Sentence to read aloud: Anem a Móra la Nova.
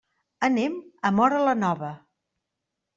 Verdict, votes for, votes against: accepted, 3, 0